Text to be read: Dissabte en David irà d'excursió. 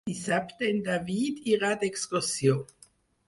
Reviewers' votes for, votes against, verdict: 4, 0, accepted